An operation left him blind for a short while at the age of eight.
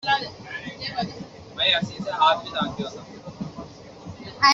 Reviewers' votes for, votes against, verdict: 0, 2, rejected